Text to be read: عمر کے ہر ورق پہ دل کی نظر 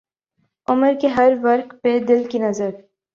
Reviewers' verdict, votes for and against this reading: accepted, 2, 0